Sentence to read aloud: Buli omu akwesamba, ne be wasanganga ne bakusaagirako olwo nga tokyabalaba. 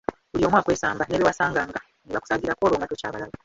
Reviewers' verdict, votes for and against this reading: rejected, 0, 2